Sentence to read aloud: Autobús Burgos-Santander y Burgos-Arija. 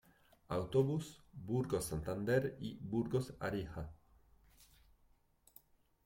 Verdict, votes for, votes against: accepted, 2, 0